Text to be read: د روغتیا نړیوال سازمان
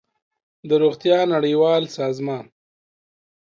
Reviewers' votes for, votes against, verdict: 2, 0, accepted